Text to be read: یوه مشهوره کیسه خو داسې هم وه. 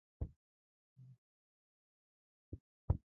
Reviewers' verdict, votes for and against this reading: rejected, 0, 2